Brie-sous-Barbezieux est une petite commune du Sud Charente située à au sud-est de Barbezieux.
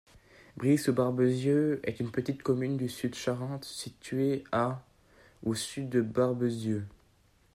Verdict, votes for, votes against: rejected, 0, 2